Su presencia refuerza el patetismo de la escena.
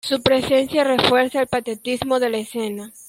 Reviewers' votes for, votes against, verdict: 1, 2, rejected